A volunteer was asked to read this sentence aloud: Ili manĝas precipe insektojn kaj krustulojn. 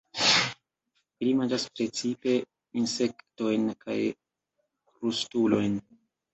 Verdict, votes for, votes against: rejected, 1, 2